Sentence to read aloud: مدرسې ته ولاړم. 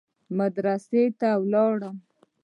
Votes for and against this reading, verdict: 1, 2, rejected